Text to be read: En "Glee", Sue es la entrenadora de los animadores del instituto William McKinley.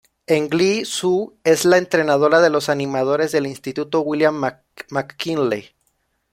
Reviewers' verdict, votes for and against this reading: rejected, 1, 2